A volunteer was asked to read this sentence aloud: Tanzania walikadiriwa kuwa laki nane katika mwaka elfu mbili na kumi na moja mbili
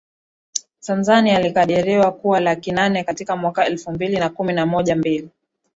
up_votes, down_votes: 1, 2